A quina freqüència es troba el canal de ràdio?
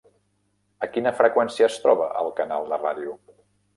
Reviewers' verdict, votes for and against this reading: rejected, 1, 2